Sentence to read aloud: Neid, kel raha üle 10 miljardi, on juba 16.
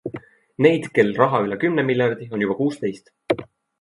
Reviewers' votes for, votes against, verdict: 0, 2, rejected